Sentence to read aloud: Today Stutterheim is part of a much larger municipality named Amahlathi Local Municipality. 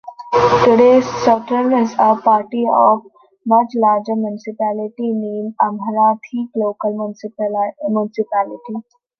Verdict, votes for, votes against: rejected, 0, 2